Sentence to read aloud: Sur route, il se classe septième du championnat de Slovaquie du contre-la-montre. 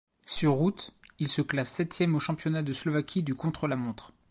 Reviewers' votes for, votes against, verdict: 0, 2, rejected